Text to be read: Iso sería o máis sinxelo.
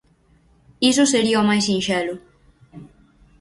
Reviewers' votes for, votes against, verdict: 4, 0, accepted